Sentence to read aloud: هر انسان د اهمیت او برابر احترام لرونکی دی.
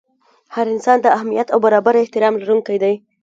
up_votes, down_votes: 2, 0